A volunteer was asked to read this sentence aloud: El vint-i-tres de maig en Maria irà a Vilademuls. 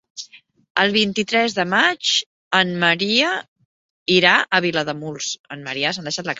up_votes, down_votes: 1, 2